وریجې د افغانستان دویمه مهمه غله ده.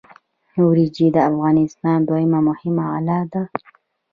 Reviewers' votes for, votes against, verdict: 2, 0, accepted